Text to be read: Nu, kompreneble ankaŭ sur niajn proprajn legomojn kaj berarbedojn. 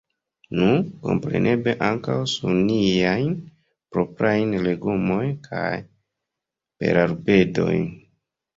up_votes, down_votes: 2, 1